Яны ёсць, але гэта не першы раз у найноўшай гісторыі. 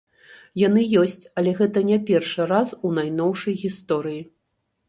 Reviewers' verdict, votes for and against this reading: accepted, 2, 0